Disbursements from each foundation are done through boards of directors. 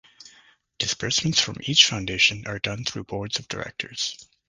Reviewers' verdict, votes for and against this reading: accepted, 2, 0